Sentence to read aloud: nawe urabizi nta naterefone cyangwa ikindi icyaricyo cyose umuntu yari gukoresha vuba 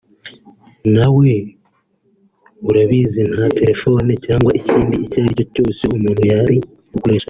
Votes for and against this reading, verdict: 1, 2, rejected